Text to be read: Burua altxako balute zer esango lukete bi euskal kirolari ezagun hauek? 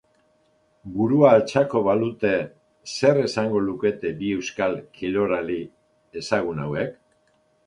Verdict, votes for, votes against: accepted, 2, 0